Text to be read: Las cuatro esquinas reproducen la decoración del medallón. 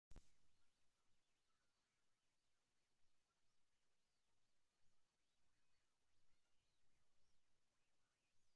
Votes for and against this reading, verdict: 0, 2, rejected